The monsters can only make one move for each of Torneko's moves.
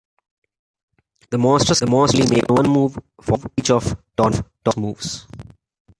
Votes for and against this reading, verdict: 0, 2, rejected